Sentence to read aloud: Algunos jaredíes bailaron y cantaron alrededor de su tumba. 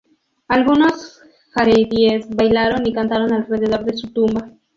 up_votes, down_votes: 0, 2